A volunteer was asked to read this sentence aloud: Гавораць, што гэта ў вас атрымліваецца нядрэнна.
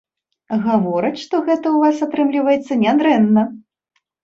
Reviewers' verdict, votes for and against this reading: accepted, 2, 0